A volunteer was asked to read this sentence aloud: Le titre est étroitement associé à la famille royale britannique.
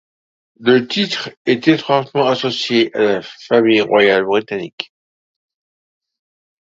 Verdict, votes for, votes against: accepted, 2, 0